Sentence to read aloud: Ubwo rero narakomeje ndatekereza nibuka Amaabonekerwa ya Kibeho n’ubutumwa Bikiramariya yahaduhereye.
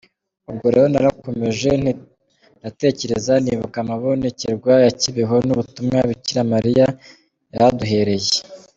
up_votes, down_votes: 0, 2